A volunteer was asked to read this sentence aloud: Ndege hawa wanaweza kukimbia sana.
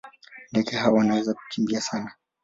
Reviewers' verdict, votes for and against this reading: accepted, 2, 0